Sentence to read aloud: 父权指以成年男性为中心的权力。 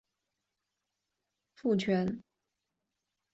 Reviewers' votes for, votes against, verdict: 0, 2, rejected